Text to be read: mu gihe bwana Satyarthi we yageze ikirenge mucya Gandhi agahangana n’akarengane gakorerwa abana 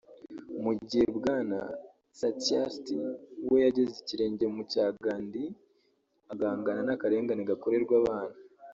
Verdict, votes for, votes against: rejected, 1, 2